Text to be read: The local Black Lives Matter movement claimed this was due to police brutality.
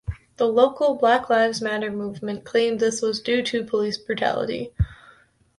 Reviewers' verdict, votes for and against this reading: accepted, 2, 0